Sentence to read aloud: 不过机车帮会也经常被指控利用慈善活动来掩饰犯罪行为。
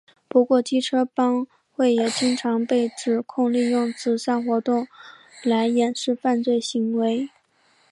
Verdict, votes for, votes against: accepted, 2, 0